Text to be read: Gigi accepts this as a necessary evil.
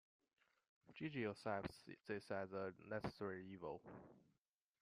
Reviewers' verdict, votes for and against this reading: rejected, 1, 2